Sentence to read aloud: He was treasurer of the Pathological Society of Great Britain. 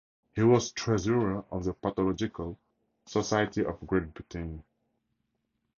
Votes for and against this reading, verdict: 2, 0, accepted